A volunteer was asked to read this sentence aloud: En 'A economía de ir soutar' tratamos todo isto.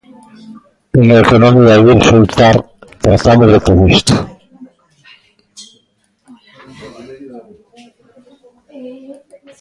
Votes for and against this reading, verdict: 0, 2, rejected